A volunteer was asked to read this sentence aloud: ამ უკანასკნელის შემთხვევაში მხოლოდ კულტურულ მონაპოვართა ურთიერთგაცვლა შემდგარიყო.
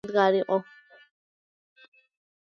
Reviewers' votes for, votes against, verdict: 0, 2, rejected